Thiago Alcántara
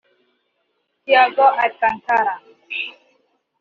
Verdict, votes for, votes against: rejected, 1, 2